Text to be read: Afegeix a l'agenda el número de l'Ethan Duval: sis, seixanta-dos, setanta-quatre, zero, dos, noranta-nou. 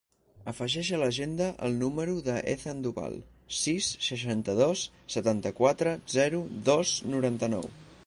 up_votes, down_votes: 2, 4